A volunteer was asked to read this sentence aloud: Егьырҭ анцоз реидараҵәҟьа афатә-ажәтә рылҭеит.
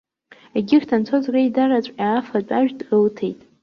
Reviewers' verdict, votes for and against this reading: rejected, 1, 2